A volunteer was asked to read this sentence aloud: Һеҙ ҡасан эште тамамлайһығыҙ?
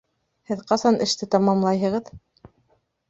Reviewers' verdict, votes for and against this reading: accepted, 2, 1